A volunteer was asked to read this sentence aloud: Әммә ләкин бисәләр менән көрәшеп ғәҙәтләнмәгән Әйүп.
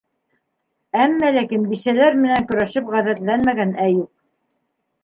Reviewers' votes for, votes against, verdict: 0, 2, rejected